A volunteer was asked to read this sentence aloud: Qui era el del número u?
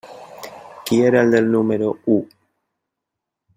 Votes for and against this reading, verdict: 3, 0, accepted